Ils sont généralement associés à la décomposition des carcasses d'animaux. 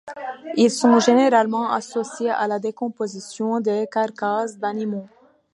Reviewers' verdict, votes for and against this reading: accepted, 2, 0